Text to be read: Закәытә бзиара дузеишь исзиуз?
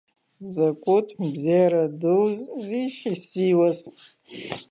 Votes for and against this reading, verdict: 1, 2, rejected